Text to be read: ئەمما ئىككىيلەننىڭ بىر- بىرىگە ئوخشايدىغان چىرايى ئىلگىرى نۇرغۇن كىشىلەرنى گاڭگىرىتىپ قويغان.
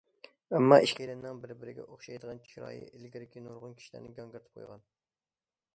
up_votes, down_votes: 1, 2